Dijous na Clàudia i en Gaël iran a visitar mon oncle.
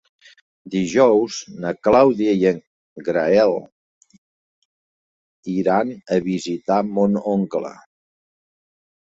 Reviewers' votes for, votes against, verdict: 0, 2, rejected